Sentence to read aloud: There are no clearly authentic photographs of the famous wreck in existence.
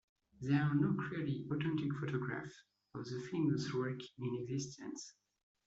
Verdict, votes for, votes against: accepted, 2, 1